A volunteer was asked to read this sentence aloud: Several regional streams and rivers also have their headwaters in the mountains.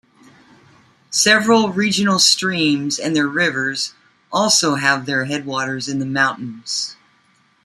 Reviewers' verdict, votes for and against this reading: rejected, 1, 3